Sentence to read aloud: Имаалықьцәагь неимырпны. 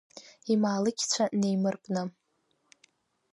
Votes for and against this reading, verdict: 1, 2, rejected